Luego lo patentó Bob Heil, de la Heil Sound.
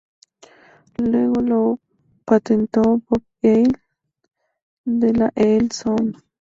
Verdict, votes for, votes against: accepted, 2, 0